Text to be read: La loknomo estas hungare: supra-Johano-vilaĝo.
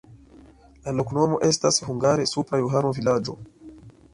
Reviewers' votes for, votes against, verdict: 2, 0, accepted